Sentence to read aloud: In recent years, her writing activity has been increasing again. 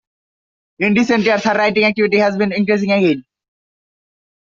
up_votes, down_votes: 0, 2